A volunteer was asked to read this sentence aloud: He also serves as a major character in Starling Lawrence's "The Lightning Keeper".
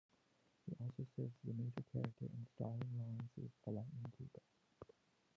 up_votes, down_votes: 0, 2